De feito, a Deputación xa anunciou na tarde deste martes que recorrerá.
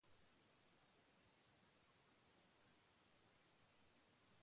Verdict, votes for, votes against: rejected, 0, 2